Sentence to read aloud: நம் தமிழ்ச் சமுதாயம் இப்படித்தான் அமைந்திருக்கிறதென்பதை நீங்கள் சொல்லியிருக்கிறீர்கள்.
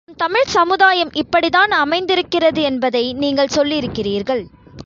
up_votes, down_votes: 0, 2